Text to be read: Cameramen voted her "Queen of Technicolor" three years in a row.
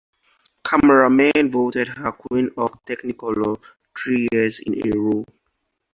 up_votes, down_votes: 2, 2